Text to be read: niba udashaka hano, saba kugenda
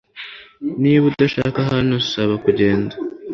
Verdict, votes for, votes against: accepted, 2, 1